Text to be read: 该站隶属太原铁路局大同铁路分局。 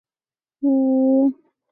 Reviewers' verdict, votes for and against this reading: rejected, 0, 2